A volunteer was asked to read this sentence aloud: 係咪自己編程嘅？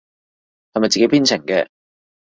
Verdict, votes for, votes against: accepted, 2, 0